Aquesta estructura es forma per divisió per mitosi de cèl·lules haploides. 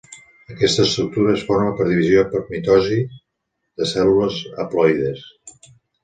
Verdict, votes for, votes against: accepted, 3, 0